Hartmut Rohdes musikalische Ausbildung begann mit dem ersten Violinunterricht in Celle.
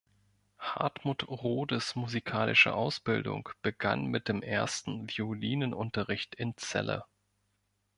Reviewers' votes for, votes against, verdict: 1, 2, rejected